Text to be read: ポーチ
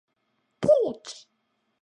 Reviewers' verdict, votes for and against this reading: rejected, 0, 2